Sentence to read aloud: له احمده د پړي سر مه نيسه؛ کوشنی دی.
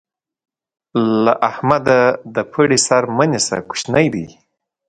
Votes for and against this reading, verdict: 2, 0, accepted